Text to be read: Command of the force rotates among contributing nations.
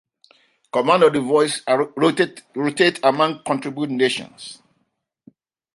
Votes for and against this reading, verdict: 1, 2, rejected